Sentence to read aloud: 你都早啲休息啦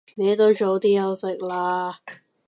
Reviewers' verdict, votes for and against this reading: rejected, 1, 2